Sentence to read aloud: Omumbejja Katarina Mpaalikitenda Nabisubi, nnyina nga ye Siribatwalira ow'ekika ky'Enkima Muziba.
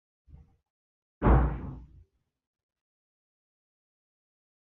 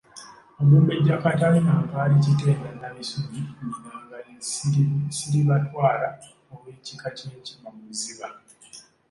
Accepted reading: second